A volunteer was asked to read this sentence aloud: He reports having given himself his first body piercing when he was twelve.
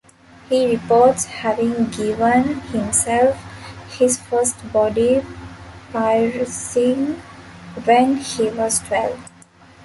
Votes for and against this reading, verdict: 0, 2, rejected